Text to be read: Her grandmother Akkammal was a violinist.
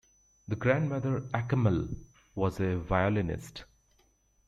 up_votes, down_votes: 2, 0